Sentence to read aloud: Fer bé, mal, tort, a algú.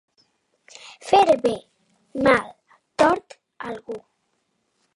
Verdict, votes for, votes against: accepted, 2, 0